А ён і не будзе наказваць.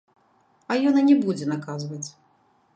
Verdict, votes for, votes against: rejected, 1, 2